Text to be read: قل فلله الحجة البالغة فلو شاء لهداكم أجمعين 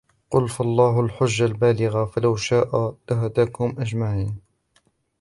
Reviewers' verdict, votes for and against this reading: rejected, 1, 2